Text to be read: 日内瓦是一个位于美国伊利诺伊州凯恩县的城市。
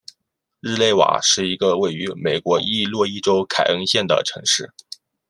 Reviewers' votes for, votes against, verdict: 0, 2, rejected